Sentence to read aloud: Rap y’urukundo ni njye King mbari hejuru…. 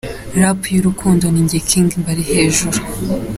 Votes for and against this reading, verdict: 4, 0, accepted